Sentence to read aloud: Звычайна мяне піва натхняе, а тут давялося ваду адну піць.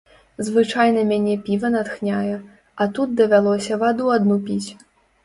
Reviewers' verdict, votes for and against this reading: accepted, 2, 0